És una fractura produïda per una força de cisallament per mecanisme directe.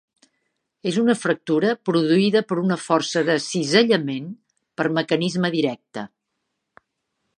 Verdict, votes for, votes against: accepted, 2, 0